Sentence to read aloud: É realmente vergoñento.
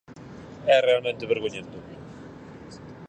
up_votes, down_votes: 4, 0